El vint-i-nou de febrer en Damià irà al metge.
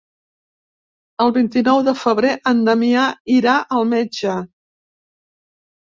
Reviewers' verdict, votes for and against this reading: accepted, 3, 0